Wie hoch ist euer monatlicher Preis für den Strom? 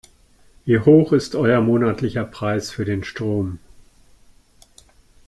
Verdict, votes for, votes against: accepted, 2, 0